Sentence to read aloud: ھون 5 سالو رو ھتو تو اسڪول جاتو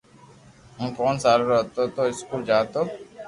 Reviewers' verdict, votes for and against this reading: rejected, 0, 2